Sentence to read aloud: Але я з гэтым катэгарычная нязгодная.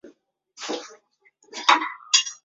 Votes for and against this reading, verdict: 0, 2, rejected